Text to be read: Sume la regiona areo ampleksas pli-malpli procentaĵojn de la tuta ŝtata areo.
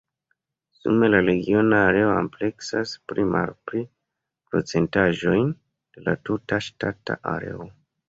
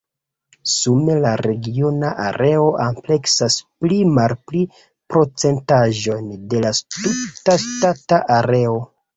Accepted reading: first